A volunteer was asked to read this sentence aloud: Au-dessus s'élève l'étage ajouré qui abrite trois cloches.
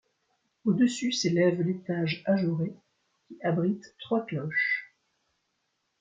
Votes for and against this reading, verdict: 2, 1, accepted